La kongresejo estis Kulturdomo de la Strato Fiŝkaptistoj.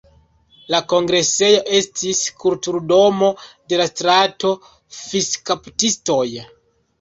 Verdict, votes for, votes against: rejected, 0, 2